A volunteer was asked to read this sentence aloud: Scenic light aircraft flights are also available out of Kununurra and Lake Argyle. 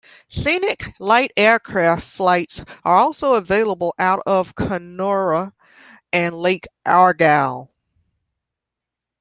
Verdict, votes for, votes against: rejected, 1, 2